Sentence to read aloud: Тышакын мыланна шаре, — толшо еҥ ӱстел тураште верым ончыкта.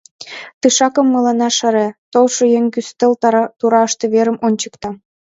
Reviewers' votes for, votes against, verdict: 1, 2, rejected